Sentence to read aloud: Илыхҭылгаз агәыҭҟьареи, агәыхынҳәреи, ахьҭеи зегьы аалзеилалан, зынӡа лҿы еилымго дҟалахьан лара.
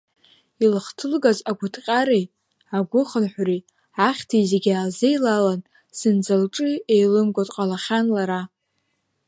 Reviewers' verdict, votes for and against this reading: rejected, 0, 2